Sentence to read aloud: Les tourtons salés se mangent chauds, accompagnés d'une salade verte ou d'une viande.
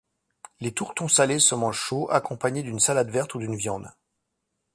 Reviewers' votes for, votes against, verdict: 2, 0, accepted